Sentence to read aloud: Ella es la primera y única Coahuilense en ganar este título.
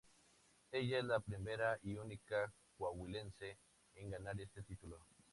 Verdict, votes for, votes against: accepted, 2, 0